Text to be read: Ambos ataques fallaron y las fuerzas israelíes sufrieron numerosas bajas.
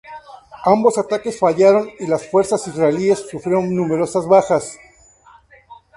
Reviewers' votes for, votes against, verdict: 2, 0, accepted